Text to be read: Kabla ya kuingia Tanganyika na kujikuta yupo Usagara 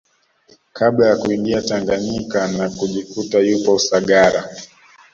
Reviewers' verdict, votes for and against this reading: accepted, 2, 0